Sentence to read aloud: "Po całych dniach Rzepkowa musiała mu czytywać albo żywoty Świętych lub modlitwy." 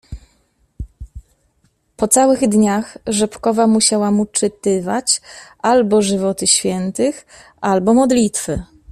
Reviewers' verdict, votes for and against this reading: rejected, 0, 2